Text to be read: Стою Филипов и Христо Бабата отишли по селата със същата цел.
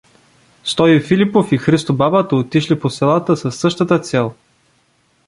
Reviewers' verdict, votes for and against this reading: accepted, 2, 0